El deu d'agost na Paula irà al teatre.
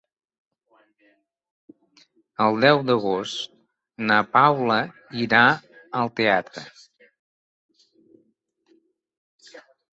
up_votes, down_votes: 2, 0